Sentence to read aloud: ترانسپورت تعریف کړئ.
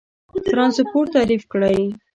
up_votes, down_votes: 2, 0